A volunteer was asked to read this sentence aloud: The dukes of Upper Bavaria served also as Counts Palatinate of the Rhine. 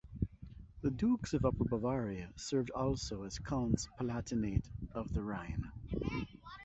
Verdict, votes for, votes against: accepted, 4, 0